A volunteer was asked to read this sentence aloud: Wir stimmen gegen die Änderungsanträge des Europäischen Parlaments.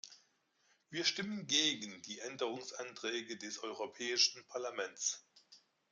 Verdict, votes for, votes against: accepted, 2, 0